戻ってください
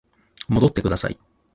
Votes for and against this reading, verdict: 0, 2, rejected